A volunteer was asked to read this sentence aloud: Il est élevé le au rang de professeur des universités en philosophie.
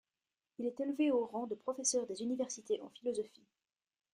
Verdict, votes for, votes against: rejected, 1, 2